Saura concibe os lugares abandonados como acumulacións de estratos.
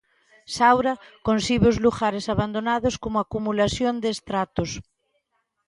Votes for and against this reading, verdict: 2, 0, accepted